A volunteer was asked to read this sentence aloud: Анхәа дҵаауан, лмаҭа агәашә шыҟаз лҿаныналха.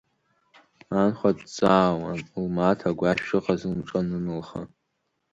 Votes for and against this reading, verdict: 0, 2, rejected